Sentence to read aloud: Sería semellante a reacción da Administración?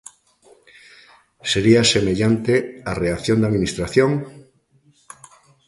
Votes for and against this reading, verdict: 2, 0, accepted